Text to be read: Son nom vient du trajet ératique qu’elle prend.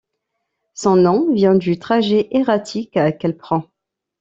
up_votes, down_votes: 2, 0